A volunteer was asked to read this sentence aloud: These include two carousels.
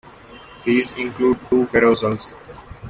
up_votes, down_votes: 3, 0